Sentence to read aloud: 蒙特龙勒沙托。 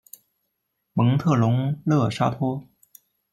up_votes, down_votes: 1, 2